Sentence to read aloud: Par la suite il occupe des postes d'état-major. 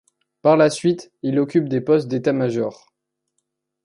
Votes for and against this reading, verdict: 2, 0, accepted